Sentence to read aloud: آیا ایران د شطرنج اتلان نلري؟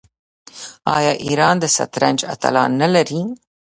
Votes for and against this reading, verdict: 1, 2, rejected